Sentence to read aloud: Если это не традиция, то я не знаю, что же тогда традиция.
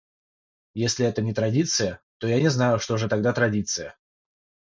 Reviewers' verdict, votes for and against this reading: rejected, 3, 3